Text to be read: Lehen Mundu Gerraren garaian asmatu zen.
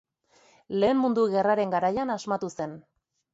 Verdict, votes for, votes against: accepted, 2, 0